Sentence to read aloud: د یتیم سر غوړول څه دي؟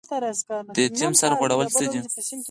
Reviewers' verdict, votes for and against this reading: accepted, 4, 0